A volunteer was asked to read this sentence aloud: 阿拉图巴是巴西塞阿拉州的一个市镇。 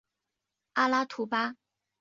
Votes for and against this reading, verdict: 1, 5, rejected